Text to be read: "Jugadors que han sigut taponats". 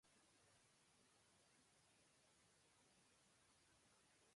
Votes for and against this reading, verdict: 0, 2, rejected